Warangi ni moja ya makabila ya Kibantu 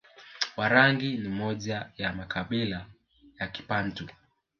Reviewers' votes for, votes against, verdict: 4, 0, accepted